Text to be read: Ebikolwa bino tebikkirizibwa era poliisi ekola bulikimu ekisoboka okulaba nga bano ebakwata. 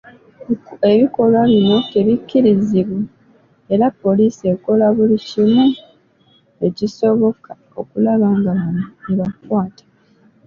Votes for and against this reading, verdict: 0, 2, rejected